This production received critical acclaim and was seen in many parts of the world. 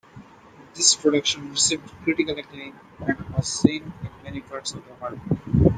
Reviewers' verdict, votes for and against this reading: accepted, 2, 0